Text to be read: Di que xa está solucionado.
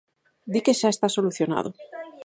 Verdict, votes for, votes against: accepted, 4, 0